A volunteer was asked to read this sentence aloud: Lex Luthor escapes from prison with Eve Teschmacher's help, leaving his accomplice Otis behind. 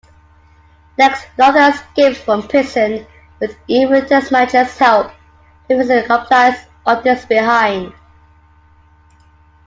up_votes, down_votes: 0, 2